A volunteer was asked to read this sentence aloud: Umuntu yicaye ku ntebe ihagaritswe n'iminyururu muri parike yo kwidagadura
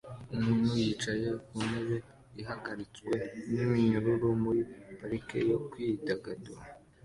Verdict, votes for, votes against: accepted, 2, 0